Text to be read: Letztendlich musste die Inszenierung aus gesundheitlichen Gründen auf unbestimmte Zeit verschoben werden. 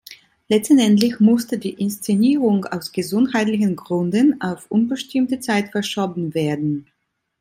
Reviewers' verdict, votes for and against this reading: accepted, 2, 1